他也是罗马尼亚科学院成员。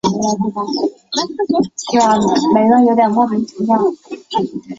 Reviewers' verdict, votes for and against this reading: rejected, 0, 2